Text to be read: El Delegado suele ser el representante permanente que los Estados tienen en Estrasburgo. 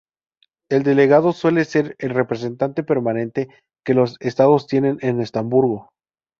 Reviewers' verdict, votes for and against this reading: rejected, 0, 2